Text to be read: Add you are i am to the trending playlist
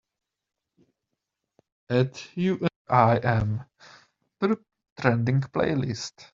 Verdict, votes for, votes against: rejected, 0, 2